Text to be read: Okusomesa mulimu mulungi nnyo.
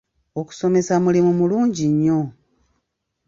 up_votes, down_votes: 3, 1